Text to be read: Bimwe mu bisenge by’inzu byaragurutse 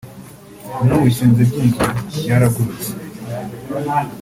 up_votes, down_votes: 0, 2